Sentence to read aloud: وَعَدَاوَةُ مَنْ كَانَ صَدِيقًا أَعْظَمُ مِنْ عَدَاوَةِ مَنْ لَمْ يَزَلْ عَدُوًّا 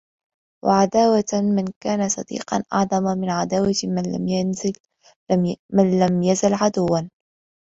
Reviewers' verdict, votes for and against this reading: rejected, 0, 2